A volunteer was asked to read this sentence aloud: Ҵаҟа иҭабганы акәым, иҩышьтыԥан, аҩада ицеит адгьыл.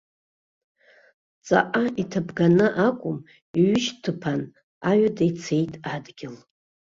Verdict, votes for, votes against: accepted, 2, 0